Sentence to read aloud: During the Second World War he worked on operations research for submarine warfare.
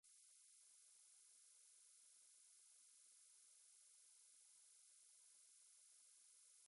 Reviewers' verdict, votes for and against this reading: rejected, 0, 2